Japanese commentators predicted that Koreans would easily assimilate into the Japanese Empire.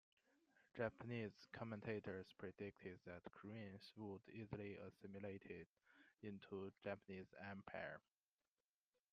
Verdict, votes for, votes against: rejected, 0, 2